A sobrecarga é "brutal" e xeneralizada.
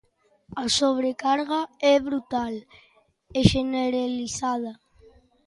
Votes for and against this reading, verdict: 0, 2, rejected